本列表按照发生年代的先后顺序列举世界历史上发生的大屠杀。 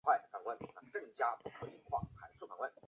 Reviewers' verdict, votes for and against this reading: rejected, 0, 2